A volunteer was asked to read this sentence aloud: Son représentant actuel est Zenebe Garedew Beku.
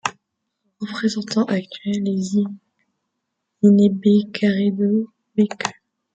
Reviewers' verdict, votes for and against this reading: rejected, 0, 2